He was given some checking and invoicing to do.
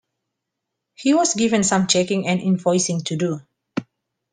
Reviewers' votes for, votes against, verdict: 2, 1, accepted